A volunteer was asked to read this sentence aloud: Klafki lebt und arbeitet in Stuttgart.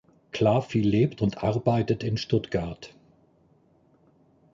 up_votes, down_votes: 1, 2